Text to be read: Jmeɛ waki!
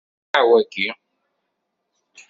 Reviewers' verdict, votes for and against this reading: rejected, 1, 2